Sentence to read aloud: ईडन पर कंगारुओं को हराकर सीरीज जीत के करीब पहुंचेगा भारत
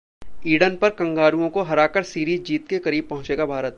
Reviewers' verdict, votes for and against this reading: accepted, 2, 0